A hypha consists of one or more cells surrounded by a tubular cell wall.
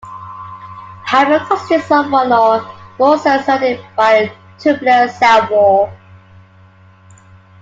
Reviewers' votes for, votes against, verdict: 1, 2, rejected